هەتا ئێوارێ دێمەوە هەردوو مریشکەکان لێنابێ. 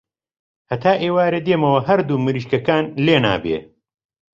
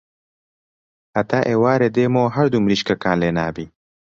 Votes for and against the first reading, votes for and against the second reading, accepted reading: 2, 0, 1, 2, first